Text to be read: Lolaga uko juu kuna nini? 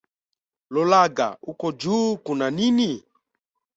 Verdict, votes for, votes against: accepted, 2, 0